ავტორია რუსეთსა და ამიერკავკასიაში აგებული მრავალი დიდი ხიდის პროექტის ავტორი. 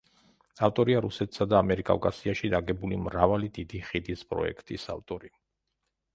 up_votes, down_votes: 0, 2